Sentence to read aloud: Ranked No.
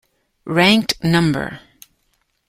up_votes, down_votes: 1, 2